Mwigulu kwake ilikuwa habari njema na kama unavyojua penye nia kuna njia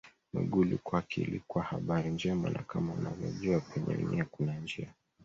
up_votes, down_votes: 2, 0